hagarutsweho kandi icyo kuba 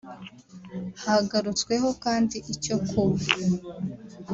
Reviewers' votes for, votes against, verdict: 1, 2, rejected